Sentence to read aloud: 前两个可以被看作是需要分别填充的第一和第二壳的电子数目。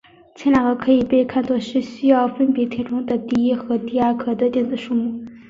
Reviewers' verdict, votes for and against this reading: accepted, 3, 0